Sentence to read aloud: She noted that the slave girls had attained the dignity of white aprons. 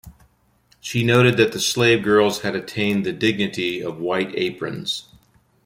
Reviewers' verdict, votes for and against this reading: accepted, 2, 0